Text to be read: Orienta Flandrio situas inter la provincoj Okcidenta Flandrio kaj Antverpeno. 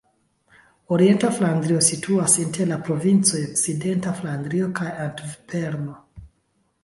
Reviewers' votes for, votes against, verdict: 2, 0, accepted